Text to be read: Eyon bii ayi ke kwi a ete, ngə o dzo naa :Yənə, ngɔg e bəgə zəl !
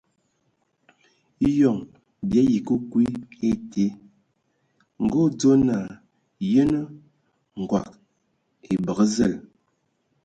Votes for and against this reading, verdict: 2, 0, accepted